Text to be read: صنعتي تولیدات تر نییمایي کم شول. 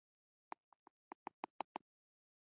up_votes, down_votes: 0, 2